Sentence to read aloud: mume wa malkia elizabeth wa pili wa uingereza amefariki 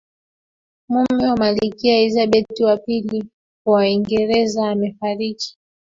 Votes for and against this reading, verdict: 0, 2, rejected